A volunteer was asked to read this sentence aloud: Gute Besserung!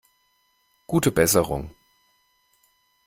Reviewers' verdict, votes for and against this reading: accepted, 2, 0